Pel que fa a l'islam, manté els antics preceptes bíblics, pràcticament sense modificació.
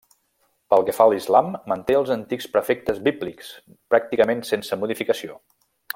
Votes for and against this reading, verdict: 1, 2, rejected